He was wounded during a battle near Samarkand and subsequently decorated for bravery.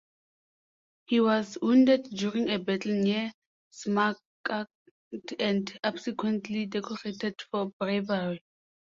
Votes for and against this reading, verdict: 0, 2, rejected